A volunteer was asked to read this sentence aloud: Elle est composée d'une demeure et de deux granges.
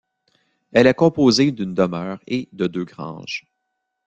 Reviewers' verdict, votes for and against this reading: accepted, 2, 0